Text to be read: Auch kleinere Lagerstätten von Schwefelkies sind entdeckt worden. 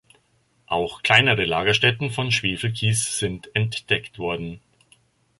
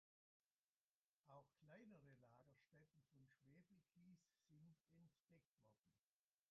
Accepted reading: first